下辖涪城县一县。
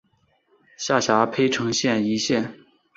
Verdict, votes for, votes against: accepted, 2, 0